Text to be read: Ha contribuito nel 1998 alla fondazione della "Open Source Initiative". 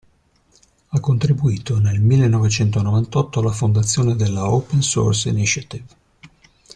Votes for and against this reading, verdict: 0, 2, rejected